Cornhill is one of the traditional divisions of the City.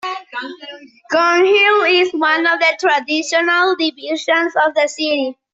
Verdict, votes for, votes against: rejected, 0, 2